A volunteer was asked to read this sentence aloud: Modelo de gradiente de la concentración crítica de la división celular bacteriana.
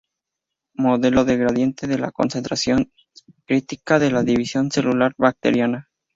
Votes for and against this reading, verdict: 0, 2, rejected